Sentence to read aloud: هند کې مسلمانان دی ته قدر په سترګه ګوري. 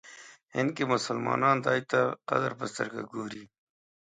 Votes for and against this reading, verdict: 2, 0, accepted